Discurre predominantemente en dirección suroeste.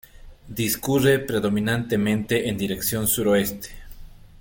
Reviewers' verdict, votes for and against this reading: accepted, 2, 0